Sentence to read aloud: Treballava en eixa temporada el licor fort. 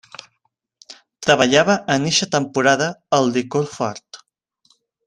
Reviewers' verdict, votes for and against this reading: accepted, 2, 0